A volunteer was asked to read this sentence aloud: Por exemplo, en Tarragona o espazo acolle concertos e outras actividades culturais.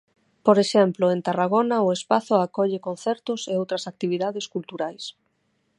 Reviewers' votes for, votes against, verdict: 6, 0, accepted